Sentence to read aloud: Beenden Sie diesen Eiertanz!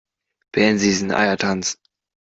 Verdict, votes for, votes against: rejected, 0, 2